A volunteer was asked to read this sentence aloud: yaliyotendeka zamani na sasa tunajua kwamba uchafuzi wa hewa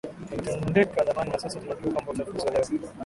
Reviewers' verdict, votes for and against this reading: rejected, 3, 12